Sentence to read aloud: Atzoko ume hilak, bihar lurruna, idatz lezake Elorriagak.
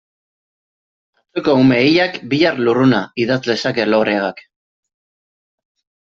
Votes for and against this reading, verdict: 1, 2, rejected